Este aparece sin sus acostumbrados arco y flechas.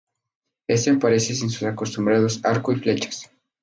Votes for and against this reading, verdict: 2, 0, accepted